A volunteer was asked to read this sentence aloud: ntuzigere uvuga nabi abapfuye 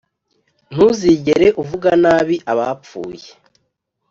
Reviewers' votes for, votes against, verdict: 2, 0, accepted